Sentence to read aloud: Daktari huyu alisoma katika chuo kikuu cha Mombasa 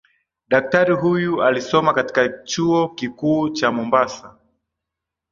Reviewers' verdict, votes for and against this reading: accepted, 3, 0